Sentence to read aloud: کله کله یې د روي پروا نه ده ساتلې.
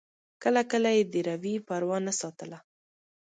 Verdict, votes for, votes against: accepted, 2, 0